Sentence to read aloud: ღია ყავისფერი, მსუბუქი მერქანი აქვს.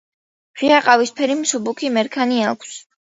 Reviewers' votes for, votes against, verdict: 2, 0, accepted